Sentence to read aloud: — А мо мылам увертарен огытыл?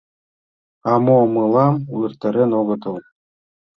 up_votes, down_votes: 2, 0